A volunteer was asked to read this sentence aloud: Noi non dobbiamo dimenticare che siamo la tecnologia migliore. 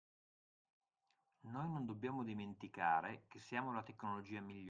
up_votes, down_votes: 0, 2